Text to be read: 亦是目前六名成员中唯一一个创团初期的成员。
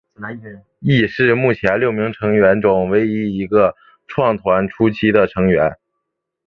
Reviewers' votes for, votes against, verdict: 2, 0, accepted